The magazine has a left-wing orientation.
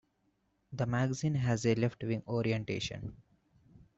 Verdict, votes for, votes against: accepted, 2, 0